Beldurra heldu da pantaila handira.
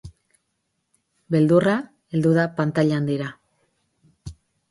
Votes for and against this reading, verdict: 6, 0, accepted